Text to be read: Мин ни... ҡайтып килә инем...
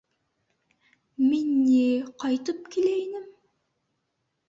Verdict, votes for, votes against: accepted, 2, 0